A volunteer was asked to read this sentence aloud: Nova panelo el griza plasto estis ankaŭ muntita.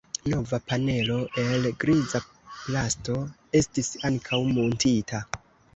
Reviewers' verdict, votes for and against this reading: accepted, 2, 0